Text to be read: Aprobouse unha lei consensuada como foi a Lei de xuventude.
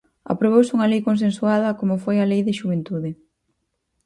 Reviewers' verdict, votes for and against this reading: accepted, 4, 0